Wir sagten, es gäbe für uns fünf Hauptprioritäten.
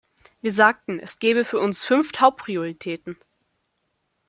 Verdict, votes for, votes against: accepted, 2, 1